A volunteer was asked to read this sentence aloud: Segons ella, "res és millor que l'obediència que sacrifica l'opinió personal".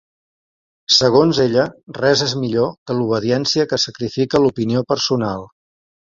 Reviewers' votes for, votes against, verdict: 4, 0, accepted